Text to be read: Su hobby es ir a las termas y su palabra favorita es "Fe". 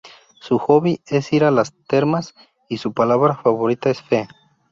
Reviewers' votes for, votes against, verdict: 4, 0, accepted